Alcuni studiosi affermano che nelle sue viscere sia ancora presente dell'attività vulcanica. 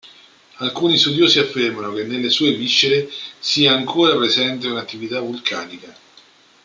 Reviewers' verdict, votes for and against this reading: rejected, 0, 2